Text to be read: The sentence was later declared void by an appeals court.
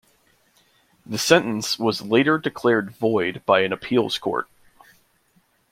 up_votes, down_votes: 2, 0